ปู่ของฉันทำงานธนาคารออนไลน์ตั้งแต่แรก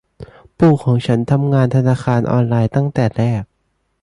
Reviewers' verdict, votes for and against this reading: accepted, 2, 1